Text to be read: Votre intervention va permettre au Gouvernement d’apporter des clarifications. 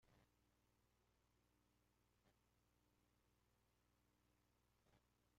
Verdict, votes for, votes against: rejected, 0, 2